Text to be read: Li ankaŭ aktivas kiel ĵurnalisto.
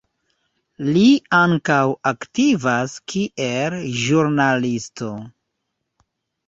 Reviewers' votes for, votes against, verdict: 2, 1, accepted